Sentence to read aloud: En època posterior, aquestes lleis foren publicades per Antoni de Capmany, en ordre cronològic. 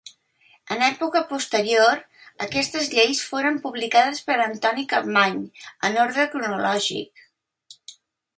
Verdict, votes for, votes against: rejected, 0, 2